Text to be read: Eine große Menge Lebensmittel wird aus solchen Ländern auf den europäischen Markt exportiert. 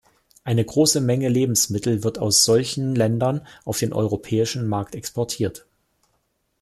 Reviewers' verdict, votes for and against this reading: accepted, 2, 0